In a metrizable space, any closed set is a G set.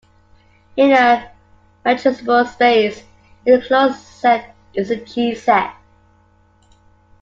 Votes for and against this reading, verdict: 3, 1, accepted